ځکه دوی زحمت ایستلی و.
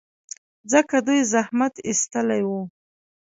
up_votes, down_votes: 2, 0